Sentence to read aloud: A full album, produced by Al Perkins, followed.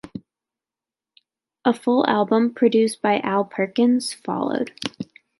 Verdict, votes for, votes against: accepted, 2, 0